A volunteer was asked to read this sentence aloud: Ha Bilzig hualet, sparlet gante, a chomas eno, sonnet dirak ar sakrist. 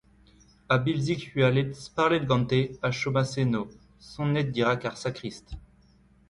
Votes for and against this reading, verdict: 2, 1, accepted